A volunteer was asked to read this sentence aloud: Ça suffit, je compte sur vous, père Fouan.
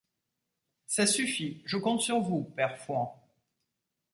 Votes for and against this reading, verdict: 2, 0, accepted